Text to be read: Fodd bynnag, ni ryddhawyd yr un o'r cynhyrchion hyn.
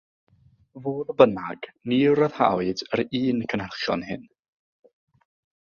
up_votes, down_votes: 0, 6